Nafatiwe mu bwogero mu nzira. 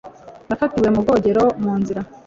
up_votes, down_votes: 2, 0